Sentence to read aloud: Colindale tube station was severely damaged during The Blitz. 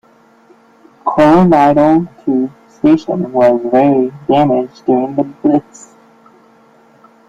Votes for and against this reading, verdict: 0, 2, rejected